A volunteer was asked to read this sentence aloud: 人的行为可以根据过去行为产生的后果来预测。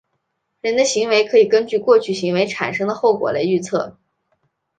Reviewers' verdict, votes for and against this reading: accepted, 2, 0